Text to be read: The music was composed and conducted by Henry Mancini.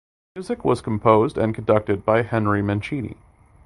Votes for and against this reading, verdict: 2, 1, accepted